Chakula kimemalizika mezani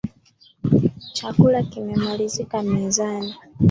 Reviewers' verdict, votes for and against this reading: accepted, 2, 0